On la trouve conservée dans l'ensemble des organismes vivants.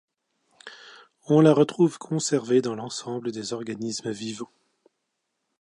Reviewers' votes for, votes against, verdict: 1, 2, rejected